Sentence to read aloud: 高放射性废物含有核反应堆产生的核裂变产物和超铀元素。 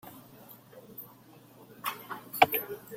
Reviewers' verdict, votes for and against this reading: rejected, 0, 2